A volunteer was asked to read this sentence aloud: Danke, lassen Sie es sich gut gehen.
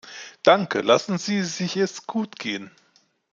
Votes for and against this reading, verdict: 0, 2, rejected